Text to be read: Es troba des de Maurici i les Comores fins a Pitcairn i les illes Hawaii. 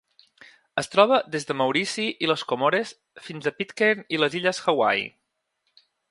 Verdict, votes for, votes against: accepted, 2, 0